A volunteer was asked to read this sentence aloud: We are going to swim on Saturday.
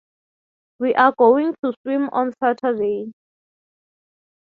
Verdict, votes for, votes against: accepted, 6, 0